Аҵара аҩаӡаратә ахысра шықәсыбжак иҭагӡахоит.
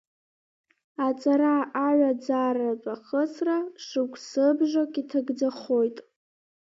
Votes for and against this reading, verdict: 1, 2, rejected